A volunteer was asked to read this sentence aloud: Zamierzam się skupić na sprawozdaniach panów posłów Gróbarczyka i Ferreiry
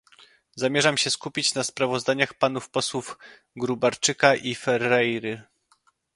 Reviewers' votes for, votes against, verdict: 2, 0, accepted